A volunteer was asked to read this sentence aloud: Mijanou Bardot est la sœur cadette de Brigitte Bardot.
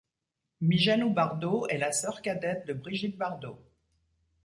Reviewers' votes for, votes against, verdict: 2, 0, accepted